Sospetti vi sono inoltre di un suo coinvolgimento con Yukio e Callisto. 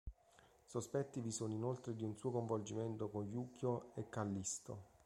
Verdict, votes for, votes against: accepted, 2, 0